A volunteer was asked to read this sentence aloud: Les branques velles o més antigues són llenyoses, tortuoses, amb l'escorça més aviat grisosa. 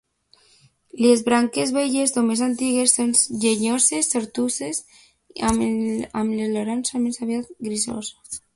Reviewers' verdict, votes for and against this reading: rejected, 0, 2